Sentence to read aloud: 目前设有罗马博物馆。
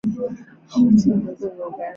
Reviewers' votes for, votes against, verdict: 2, 1, accepted